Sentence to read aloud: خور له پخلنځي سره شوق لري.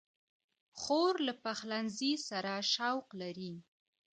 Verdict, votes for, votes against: accepted, 2, 0